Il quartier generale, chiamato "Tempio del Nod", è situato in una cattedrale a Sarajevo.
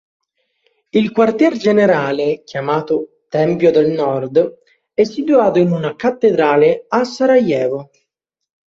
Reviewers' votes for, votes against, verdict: 0, 2, rejected